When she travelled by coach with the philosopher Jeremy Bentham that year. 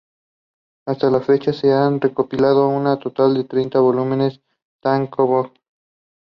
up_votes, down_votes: 0, 2